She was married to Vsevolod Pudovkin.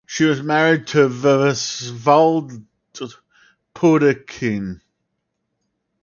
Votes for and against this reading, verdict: 0, 2, rejected